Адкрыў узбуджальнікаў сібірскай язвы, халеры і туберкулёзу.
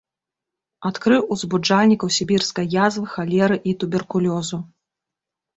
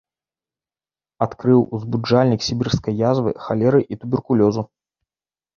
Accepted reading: first